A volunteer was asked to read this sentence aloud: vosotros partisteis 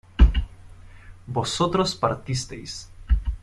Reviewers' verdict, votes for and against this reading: accepted, 2, 0